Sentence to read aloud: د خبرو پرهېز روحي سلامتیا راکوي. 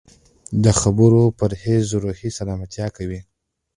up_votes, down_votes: 1, 2